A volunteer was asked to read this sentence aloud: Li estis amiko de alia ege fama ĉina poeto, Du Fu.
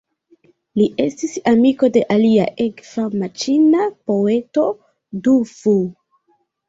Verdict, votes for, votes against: rejected, 0, 2